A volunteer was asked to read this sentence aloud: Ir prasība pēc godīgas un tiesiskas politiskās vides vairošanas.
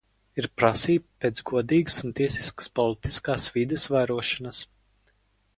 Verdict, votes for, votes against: accepted, 4, 0